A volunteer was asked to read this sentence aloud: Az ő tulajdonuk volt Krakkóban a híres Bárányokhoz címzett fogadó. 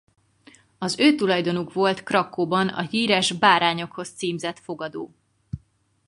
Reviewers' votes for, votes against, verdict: 4, 0, accepted